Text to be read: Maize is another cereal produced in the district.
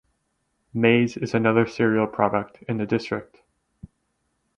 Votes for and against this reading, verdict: 2, 4, rejected